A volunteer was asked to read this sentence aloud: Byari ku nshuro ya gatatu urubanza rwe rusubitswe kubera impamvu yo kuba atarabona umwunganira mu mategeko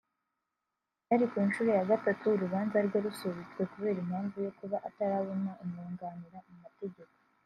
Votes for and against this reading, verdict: 2, 0, accepted